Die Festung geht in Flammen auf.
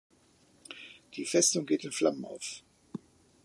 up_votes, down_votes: 2, 0